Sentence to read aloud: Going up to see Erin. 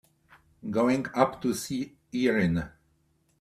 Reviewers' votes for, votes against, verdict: 1, 2, rejected